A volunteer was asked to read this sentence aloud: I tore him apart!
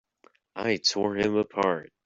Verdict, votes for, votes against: accepted, 2, 0